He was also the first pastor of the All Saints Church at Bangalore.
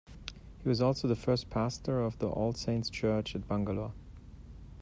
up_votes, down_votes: 2, 0